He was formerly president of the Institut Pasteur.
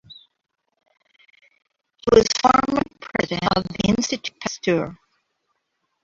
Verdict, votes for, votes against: rejected, 1, 2